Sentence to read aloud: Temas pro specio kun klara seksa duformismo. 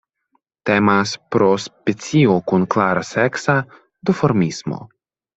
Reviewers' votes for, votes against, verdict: 2, 0, accepted